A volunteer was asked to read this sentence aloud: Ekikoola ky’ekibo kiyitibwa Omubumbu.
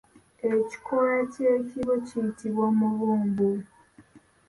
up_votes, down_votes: 1, 2